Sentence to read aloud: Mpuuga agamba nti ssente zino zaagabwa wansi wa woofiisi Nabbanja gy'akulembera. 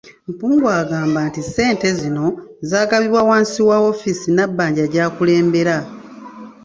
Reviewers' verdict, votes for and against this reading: rejected, 1, 2